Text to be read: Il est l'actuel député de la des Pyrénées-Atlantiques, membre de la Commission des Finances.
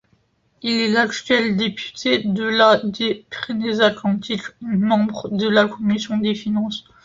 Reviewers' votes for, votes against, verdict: 1, 2, rejected